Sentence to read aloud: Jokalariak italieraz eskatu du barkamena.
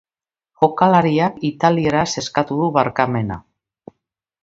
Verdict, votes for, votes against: accepted, 2, 0